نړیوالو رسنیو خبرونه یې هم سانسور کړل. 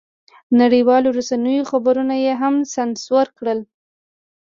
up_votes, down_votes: 2, 0